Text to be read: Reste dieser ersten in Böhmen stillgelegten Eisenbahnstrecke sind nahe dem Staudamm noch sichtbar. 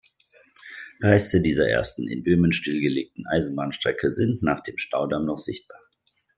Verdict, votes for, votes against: rejected, 0, 2